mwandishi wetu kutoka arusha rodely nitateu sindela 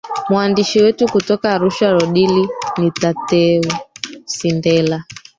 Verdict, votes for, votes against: rejected, 0, 2